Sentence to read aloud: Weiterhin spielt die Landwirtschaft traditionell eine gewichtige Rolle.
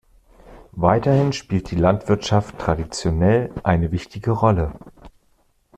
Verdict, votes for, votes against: rejected, 0, 2